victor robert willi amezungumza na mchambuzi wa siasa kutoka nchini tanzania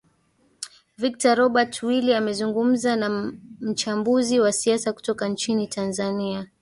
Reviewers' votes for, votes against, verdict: 1, 2, rejected